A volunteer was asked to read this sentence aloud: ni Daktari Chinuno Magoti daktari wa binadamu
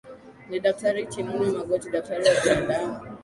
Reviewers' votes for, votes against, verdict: 0, 2, rejected